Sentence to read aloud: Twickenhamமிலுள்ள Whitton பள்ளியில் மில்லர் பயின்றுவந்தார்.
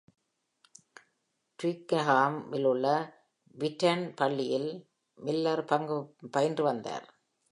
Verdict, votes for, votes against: rejected, 0, 2